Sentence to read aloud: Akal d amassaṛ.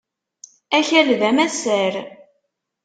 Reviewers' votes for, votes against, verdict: 0, 2, rejected